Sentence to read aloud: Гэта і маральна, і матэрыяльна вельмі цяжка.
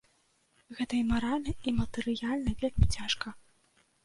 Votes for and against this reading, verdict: 2, 0, accepted